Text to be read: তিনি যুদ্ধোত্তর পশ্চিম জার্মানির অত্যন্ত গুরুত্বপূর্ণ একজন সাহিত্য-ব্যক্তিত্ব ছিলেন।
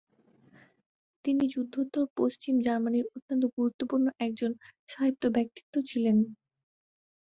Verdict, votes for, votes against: accepted, 8, 0